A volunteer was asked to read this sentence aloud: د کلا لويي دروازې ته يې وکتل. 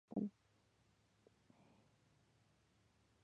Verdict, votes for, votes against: rejected, 1, 2